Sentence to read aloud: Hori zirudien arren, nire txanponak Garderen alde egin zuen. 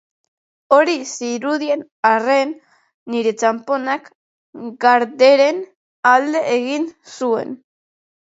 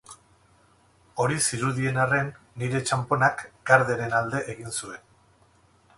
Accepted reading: first